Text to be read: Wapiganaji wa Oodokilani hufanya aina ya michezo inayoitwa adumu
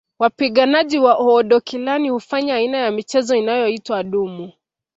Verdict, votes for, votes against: accepted, 2, 0